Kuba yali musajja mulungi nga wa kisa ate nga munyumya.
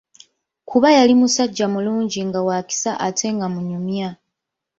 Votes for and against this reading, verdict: 2, 0, accepted